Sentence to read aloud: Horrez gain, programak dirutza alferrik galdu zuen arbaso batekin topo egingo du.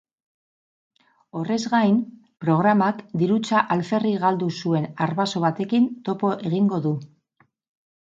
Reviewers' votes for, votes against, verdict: 2, 2, rejected